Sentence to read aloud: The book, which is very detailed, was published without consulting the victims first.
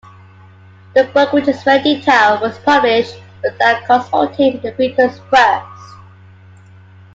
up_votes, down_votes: 2, 0